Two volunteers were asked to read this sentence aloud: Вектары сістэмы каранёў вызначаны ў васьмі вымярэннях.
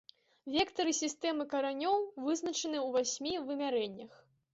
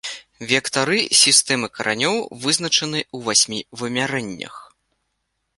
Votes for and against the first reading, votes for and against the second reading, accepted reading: 2, 0, 0, 2, first